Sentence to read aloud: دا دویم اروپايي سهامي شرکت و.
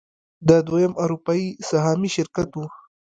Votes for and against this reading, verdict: 0, 2, rejected